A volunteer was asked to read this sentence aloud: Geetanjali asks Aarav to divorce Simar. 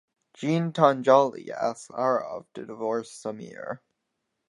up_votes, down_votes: 2, 4